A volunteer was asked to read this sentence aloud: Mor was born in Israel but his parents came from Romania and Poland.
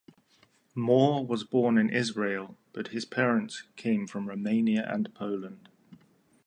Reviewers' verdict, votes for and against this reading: accepted, 4, 0